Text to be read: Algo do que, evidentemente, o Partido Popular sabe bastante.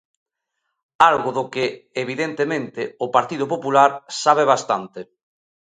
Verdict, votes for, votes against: accepted, 2, 0